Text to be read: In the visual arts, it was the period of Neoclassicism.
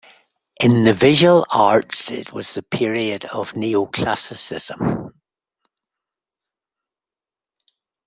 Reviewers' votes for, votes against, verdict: 2, 0, accepted